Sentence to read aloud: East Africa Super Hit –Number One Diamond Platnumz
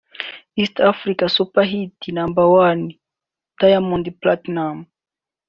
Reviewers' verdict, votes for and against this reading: rejected, 0, 2